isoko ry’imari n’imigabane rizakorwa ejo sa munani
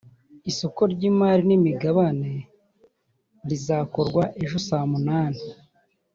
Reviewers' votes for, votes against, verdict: 3, 0, accepted